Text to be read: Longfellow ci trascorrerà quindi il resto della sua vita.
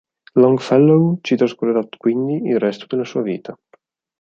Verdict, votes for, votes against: accepted, 4, 0